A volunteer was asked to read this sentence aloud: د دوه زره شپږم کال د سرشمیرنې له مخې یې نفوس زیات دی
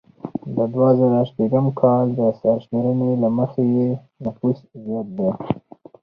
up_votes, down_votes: 2, 4